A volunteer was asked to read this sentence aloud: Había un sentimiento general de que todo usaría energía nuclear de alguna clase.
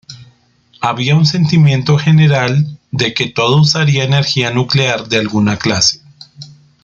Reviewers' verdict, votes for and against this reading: accepted, 2, 0